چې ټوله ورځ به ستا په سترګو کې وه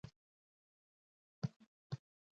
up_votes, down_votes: 1, 2